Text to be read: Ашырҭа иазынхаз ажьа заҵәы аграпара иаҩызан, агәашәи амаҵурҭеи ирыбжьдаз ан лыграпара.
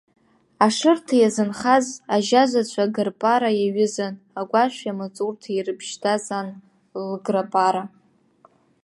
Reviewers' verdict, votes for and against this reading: rejected, 1, 2